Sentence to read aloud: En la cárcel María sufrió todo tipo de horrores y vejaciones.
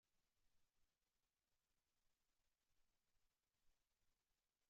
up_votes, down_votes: 0, 2